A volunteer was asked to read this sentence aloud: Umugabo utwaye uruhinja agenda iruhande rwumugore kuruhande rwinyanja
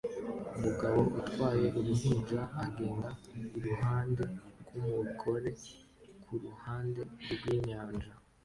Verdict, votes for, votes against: accepted, 2, 0